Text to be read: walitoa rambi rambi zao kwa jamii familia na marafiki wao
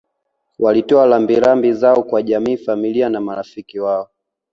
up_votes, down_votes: 2, 1